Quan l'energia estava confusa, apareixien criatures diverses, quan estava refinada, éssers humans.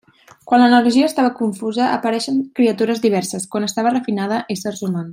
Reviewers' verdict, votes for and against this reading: rejected, 1, 2